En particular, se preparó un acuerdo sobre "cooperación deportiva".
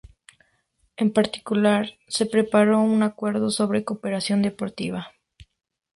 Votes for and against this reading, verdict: 2, 0, accepted